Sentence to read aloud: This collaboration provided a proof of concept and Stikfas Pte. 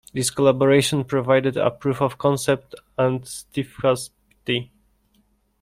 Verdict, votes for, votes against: rejected, 1, 2